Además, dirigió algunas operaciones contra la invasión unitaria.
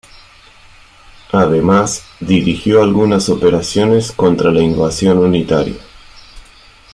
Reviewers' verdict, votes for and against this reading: accepted, 2, 1